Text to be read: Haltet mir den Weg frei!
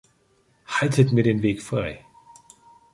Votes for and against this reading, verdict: 4, 1, accepted